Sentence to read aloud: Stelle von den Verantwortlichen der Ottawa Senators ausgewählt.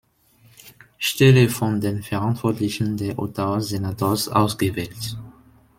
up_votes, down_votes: 0, 2